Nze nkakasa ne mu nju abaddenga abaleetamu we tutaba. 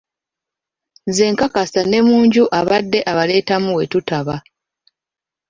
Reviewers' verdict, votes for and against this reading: rejected, 1, 2